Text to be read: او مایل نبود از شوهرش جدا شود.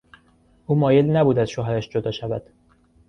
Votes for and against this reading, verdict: 2, 0, accepted